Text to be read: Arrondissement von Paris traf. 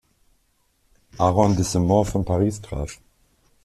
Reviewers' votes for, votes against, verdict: 1, 2, rejected